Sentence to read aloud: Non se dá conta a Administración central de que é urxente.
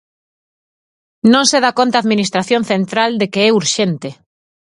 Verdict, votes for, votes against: accepted, 4, 0